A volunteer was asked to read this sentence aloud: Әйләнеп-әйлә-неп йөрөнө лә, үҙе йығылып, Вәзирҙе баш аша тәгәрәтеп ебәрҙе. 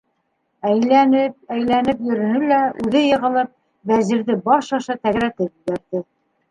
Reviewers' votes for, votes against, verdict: 1, 2, rejected